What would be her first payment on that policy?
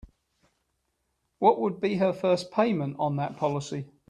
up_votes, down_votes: 3, 0